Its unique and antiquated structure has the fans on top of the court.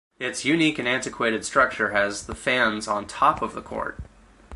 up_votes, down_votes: 4, 0